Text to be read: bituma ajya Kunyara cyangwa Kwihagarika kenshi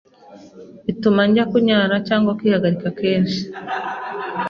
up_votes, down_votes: 2, 0